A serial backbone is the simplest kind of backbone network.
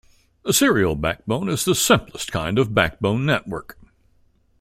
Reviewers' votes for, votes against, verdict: 2, 0, accepted